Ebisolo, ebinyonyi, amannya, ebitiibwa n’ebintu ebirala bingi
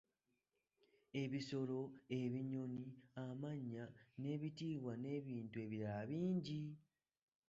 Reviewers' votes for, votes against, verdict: 1, 2, rejected